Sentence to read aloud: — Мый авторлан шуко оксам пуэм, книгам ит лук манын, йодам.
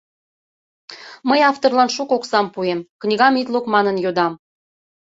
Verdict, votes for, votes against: accepted, 2, 0